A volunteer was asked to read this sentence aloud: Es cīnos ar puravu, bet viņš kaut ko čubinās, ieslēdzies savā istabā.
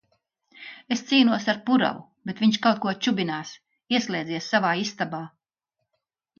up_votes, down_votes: 2, 0